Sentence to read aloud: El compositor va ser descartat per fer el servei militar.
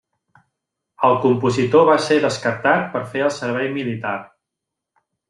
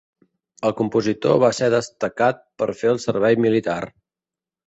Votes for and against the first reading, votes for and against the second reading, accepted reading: 3, 0, 1, 3, first